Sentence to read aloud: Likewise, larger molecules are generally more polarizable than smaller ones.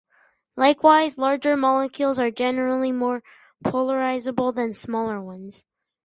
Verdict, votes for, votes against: accepted, 6, 0